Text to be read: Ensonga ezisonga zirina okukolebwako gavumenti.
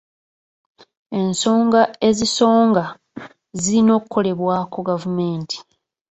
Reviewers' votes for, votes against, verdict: 1, 2, rejected